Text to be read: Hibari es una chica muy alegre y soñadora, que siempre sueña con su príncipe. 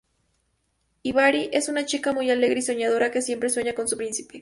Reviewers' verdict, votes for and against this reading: accepted, 2, 0